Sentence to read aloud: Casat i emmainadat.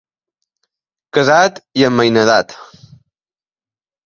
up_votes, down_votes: 2, 0